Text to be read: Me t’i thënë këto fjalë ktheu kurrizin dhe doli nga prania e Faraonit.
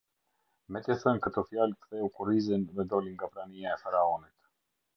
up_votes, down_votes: 2, 0